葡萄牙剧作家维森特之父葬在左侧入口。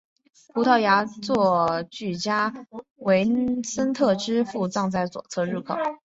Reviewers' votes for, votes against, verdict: 4, 0, accepted